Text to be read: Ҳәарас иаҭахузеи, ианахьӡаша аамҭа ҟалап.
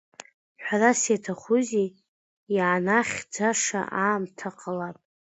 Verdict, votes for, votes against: accepted, 2, 0